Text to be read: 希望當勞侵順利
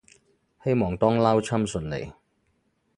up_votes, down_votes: 0, 2